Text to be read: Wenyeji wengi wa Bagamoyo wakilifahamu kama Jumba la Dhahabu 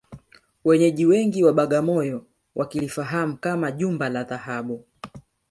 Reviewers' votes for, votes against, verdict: 4, 0, accepted